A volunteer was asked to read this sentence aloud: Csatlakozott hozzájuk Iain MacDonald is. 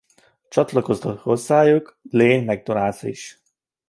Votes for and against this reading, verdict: 1, 2, rejected